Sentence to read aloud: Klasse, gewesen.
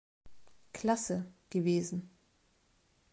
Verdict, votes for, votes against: accepted, 2, 0